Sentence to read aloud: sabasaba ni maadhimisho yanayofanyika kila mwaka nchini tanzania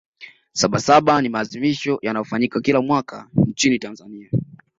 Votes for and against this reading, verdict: 2, 0, accepted